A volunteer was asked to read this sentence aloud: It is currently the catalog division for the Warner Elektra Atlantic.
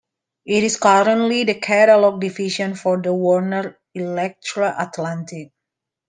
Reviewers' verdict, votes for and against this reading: rejected, 1, 2